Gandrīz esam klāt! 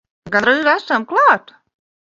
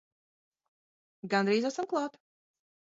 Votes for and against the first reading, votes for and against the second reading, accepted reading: 1, 2, 2, 0, second